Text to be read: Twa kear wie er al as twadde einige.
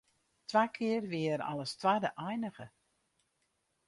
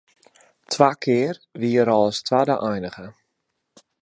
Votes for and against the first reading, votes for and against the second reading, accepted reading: 0, 2, 2, 0, second